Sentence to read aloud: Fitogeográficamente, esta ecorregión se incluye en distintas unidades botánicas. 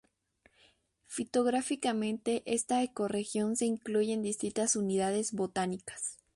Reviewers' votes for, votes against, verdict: 0, 4, rejected